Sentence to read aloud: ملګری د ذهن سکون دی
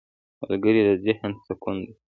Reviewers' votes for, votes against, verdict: 2, 0, accepted